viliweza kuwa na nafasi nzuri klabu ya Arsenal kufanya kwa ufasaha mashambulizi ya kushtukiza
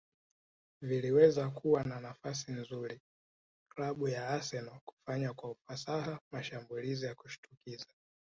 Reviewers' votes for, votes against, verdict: 6, 0, accepted